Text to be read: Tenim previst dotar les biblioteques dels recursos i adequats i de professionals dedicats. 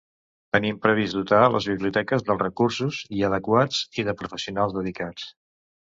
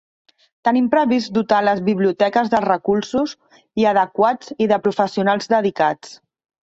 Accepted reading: first